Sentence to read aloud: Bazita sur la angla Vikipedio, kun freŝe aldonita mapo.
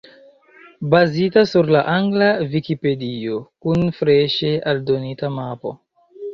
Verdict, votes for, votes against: accepted, 2, 0